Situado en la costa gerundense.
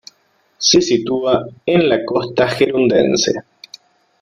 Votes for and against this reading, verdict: 1, 2, rejected